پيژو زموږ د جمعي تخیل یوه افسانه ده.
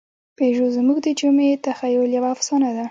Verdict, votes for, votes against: rejected, 0, 2